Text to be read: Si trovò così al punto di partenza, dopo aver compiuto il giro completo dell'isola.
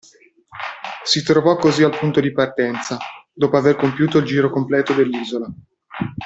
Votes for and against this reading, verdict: 2, 0, accepted